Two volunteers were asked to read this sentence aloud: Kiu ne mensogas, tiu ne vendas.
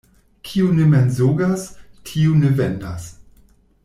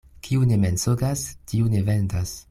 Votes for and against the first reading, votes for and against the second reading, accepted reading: 1, 2, 2, 0, second